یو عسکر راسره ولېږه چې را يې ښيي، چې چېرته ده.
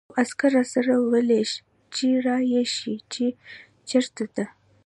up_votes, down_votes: 1, 2